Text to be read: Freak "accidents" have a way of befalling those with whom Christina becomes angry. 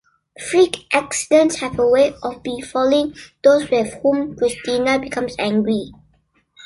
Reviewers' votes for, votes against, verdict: 2, 1, accepted